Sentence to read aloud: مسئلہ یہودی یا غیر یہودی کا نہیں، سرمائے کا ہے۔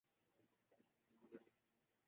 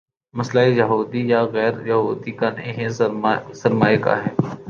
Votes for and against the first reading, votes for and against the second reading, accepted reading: 0, 2, 2, 0, second